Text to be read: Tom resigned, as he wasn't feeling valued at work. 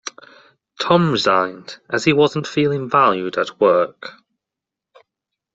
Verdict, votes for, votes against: accepted, 2, 0